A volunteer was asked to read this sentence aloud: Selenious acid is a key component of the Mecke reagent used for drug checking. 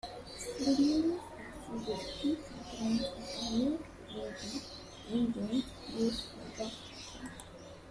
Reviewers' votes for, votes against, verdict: 0, 2, rejected